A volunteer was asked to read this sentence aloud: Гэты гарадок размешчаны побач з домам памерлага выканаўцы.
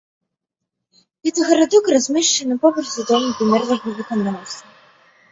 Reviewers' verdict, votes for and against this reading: rejected, 1, 2